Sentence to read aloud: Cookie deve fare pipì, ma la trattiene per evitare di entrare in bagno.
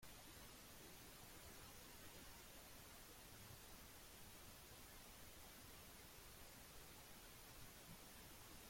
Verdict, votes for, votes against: rejected, 0, 2